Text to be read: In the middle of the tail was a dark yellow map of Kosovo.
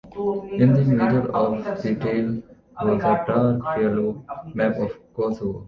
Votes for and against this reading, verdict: 2, 1, accepted